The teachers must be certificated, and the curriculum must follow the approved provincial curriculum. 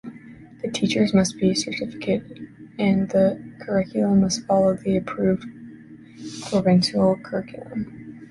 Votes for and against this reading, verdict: 0, 2, rejected